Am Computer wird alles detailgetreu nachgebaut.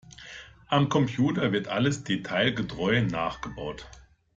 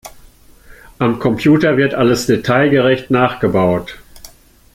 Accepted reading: first